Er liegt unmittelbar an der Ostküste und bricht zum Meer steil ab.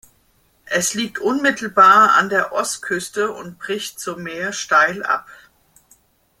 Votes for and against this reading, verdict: 0, 2, rejected